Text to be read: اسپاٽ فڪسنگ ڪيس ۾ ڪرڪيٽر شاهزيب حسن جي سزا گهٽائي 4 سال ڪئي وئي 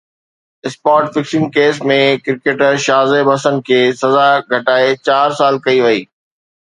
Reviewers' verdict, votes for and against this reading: rejected, 0, 2